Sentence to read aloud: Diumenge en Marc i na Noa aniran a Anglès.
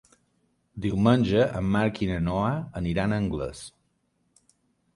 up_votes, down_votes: 3, 0